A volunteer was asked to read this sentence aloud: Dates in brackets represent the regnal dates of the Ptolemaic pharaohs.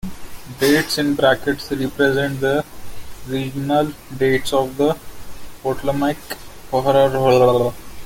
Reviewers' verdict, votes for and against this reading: rejected, 0, 2